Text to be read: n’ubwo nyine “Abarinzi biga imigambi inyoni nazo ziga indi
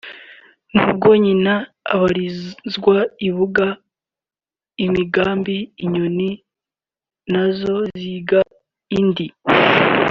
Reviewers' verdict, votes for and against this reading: rejected, 1, 2